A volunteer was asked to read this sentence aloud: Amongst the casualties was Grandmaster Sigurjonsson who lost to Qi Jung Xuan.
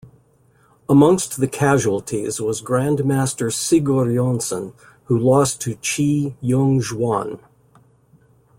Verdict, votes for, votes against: accepted, 2, 0